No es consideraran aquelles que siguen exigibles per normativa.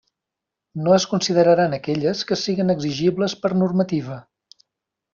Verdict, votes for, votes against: accepted, 3, 0